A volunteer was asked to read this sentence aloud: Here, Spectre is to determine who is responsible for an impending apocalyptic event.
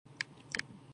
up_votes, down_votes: 0, 2